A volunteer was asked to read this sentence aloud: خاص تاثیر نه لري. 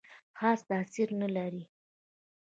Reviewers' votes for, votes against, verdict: 0, 2, rejected